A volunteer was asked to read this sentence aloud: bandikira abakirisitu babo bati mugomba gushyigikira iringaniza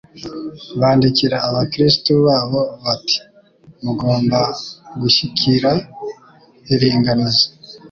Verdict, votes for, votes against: rejected, 0, 2